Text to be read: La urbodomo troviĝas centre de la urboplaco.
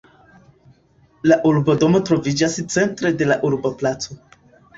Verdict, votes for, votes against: accepted, 2, 0